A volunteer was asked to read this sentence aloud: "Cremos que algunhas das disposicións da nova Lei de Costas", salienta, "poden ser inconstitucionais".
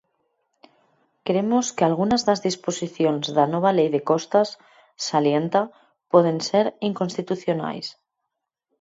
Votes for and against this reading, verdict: 4, 2, accepted